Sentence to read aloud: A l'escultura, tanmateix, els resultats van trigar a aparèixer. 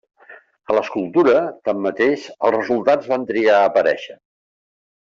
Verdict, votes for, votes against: accepted, 2, 0